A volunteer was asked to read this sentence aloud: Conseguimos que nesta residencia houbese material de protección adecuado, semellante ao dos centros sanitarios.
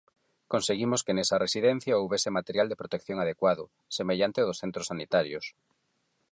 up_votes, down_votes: 0, 4